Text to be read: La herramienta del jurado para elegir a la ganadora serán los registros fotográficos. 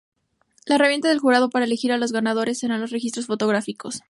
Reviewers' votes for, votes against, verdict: 2, 0, accepted